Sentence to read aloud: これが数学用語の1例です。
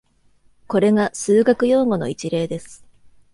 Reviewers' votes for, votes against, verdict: 0, 2, rejected